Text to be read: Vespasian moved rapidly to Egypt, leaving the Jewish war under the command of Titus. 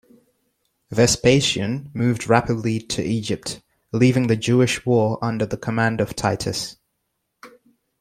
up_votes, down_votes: 2, 0